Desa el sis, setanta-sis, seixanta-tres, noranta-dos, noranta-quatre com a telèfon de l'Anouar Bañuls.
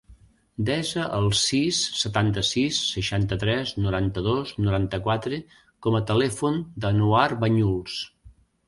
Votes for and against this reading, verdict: 0, 2, rejected